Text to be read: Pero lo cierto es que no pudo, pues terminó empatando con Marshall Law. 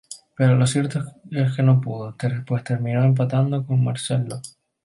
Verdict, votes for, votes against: rejected, 0, 2